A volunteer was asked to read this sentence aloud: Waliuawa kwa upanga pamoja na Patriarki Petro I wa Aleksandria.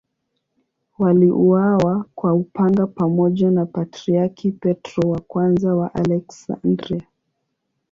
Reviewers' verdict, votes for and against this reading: accepted, 2, 0